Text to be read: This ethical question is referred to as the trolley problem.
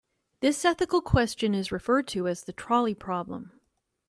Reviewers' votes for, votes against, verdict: 2, 0, accepted